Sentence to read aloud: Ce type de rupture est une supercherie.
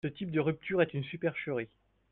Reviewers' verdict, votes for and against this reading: accepted, 4, 0